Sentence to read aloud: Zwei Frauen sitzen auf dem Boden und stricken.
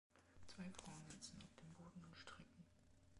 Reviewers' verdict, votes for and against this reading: rejected, 1, 2